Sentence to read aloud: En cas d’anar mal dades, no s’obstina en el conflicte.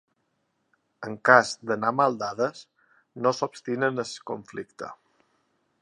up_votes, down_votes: 1, 2